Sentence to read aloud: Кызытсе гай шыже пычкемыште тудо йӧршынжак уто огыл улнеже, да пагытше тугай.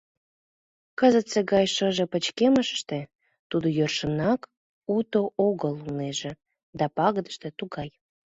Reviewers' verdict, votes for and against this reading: accepted, 2, 0